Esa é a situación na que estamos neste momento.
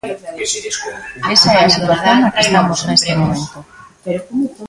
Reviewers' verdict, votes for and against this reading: rejected, 0, 2